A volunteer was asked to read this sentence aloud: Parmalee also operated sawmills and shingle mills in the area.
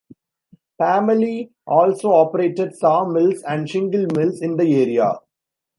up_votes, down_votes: 1, 2